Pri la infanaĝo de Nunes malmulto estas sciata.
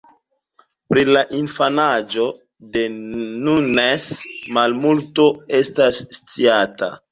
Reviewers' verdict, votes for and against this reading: accepted, 2, 0